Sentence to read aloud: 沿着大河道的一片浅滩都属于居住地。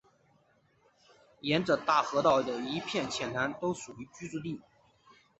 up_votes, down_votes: 2, 1